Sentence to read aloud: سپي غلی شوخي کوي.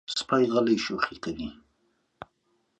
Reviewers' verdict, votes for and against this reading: accepted, 2, 0